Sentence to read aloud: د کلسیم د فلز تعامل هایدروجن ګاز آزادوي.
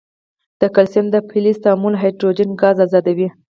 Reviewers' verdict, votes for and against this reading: accepted, 4, 0